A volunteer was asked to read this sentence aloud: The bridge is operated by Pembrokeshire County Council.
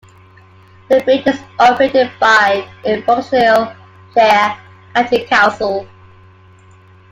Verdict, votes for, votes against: rejected, 0, 2